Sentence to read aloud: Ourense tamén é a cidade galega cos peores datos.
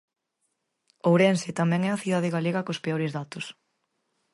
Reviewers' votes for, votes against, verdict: 4, 0, accepted